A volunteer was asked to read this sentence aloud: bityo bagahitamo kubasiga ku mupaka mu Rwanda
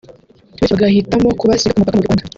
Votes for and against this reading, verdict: 1, 2, rejected